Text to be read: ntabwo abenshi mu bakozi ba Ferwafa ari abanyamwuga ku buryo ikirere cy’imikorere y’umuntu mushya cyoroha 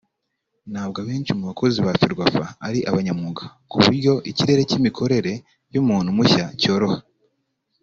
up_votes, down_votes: 0, 2